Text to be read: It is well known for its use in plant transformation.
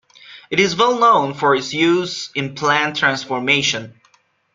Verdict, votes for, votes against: accepted, 2, 0